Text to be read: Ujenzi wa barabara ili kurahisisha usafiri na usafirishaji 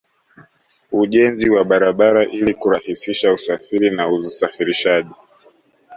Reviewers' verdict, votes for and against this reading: accepted, 2, 0